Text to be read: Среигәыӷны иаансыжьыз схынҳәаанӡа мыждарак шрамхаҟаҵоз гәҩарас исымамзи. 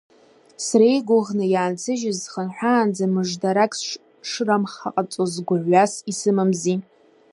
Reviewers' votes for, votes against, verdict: 0, 2, rejected